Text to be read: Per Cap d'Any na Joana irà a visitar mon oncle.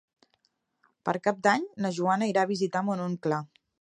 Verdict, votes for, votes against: accepted, 3, 0